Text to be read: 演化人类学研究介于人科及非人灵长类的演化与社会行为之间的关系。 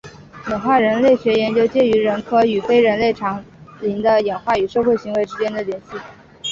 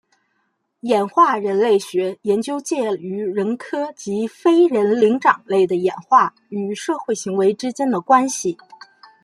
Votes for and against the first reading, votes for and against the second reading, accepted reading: 0, 2, 2, 0, second